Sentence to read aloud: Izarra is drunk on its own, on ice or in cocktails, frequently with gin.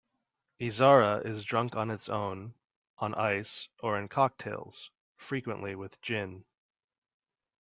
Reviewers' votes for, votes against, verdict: 2, 0, accepted